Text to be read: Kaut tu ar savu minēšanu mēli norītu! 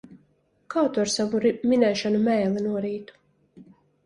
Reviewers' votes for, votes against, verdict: 0, 2, rejected